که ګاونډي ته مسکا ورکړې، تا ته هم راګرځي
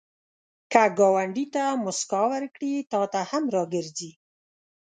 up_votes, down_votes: 2, 0